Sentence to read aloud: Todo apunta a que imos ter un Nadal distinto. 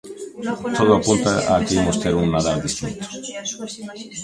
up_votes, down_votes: 1, 2